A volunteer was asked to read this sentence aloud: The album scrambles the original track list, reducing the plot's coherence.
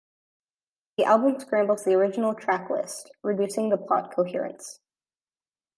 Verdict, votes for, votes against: accepted, 2, 0